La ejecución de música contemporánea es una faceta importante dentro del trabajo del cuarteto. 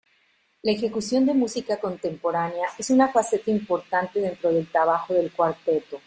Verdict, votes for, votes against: accepted, 2, 0